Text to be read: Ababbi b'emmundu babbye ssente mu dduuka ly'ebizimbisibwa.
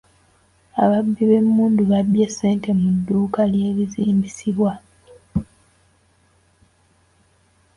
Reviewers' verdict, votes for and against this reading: rejected, 0, 2